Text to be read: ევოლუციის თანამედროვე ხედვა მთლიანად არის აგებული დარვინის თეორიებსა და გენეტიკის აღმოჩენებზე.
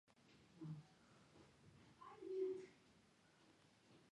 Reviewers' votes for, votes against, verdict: 0, 2, rejected